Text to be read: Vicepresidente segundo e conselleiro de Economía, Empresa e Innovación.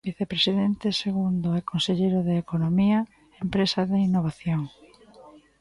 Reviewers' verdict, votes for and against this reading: rejected, 0, 2